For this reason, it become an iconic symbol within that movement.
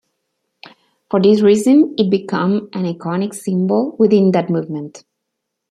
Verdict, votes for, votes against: accepted, 2, 0